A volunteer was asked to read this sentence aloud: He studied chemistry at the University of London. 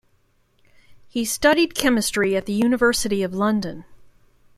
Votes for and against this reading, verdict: 2, 0, accepted